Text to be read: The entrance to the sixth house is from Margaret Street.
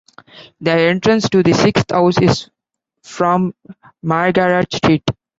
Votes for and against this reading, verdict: 0, 2, rejected